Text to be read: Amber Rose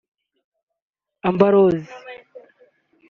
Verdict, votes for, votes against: rejected, 1, 2